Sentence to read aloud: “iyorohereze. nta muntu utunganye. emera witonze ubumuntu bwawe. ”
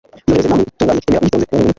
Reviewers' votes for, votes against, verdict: 1, 2, rejected